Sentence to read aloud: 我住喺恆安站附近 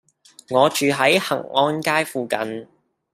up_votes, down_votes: 1, 2